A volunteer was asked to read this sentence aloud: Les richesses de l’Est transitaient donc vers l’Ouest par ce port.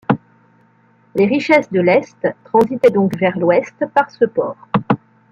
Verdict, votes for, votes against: accepted, 2, 0